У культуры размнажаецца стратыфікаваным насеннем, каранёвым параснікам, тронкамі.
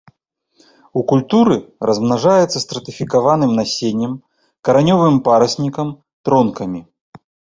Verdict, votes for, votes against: accepted, 2, 0